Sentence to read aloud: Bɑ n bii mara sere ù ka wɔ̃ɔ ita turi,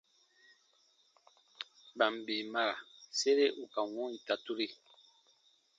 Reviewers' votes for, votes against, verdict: 0, 2, rejected